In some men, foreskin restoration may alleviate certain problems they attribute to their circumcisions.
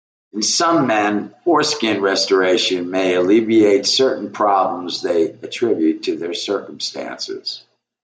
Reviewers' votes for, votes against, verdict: 2, 0, accepted